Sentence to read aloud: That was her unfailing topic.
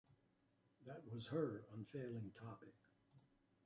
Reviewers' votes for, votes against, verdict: 0, 2, rejected